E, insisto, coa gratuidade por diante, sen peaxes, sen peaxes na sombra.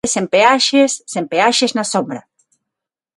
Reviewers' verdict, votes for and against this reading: rejected, 0, 6